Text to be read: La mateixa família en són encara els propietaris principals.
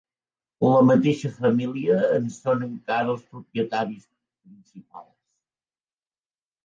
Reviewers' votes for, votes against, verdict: 1, 3, rejected